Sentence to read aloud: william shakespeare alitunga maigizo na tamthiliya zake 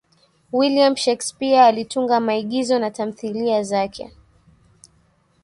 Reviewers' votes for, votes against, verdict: 2, 1, accepted